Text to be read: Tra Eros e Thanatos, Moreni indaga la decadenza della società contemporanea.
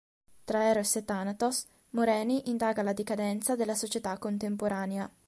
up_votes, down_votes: 2, 0